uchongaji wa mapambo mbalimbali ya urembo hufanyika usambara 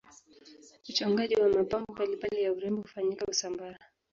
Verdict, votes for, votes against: accepted, 2, 1